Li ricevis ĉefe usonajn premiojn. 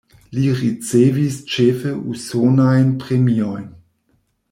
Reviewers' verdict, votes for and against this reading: rejected, 1, 2